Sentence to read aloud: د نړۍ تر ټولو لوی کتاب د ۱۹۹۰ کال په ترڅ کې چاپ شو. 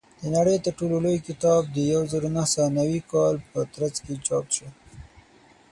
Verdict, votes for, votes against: rejected, 0, 2